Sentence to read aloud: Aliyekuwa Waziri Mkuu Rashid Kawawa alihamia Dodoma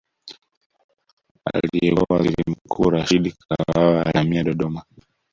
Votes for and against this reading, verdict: 0, 2, rejected